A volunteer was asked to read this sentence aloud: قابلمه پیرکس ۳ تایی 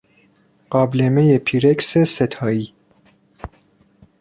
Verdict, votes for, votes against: rejected, 0, 2